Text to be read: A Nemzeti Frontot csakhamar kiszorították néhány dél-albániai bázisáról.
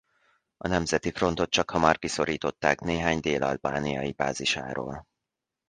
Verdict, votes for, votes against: accepted, 2, 0